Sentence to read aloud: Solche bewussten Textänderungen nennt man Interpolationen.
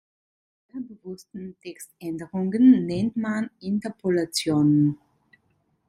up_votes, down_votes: 0, 2